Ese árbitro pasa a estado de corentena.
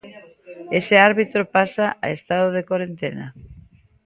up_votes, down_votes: 2, 0